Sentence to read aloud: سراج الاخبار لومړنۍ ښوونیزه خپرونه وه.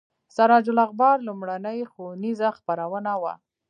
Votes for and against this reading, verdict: 2, 3, rejected